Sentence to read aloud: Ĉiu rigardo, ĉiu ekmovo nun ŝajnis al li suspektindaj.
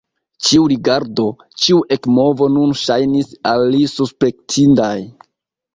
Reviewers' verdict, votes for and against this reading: accepted, 2, 1